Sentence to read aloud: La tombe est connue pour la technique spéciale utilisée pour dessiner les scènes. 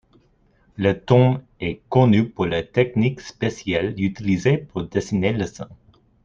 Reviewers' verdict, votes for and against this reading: accepted, 2, 1